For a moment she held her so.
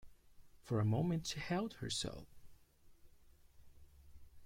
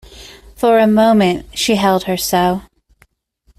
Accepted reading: second